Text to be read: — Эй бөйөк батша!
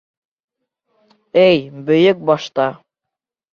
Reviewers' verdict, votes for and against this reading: rejected, 0, 2